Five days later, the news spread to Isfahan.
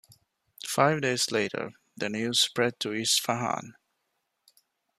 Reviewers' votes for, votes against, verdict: 2, 0, accepted